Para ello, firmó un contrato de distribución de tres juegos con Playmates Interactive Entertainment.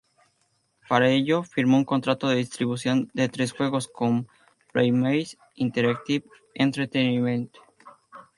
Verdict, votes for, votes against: rejected, 0, 2